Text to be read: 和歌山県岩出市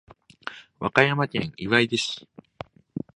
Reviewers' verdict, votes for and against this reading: accepted, 2, 0